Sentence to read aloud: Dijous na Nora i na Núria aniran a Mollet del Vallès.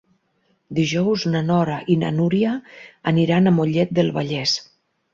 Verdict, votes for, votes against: accepted, 6, 0